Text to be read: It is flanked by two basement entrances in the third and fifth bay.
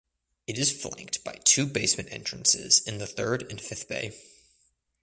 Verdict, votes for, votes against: accepted, 2, 0